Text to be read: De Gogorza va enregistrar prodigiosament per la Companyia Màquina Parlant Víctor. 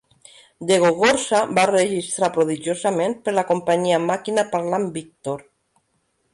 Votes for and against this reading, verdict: 1, 2, rejected